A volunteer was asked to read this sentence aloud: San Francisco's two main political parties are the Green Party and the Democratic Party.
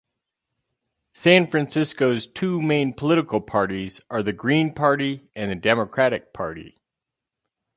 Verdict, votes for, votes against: rejected, 2, 2